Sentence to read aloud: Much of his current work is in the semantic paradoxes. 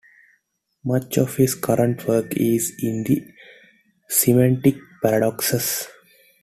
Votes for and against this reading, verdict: 2, 0, accepted